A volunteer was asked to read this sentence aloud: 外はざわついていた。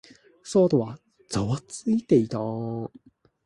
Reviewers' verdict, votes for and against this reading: rejected, 1, 2